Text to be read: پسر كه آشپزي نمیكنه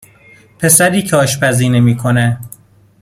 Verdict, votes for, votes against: accepted, 2, 1